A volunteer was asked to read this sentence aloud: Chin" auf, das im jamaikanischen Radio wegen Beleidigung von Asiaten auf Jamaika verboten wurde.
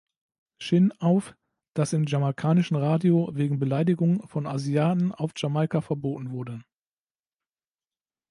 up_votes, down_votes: 3, 0